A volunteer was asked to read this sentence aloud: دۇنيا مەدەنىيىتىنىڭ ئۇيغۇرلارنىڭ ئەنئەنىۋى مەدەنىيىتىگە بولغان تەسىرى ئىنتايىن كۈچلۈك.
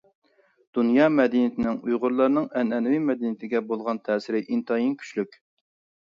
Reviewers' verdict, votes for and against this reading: accepted, 2, 0